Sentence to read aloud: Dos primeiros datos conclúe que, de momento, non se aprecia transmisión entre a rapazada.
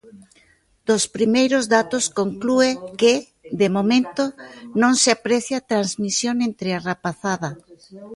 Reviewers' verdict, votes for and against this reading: rejected, 0, 2